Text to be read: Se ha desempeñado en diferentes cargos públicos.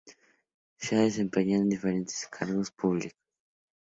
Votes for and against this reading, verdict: 0, 2, rejected